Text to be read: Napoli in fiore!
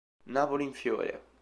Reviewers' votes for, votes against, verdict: 2, 0, accepted